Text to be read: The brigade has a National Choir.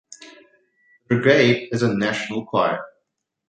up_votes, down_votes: 0, 2